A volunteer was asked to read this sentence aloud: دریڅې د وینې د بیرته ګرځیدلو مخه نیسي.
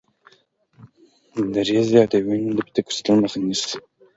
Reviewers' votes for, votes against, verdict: 2, 1, accepted